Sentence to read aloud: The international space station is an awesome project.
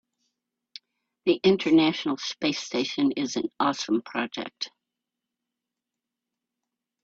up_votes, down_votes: 2, 0